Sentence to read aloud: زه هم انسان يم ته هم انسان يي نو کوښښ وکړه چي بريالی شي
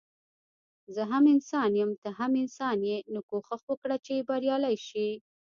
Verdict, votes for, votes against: rejected, 1, 2